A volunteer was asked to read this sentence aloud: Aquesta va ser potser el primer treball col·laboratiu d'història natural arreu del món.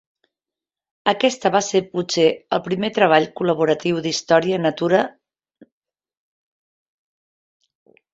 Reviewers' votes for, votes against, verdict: 0, 2, rejected